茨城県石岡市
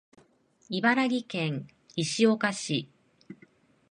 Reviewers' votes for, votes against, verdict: 0, 2, rejected